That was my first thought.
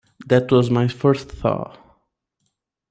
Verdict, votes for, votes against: rejected, 1, 2